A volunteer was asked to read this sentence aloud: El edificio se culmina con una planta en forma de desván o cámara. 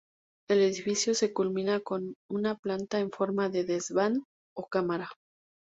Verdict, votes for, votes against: accepted, 2, 0